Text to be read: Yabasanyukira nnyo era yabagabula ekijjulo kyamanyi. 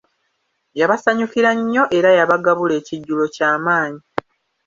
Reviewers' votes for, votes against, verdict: 2, 0, accepted